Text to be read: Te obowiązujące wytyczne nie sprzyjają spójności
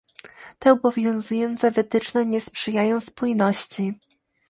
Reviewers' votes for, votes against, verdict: 2, 0, accepted